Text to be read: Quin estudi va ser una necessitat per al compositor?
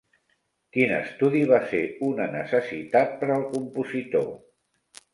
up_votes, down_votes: 0, 2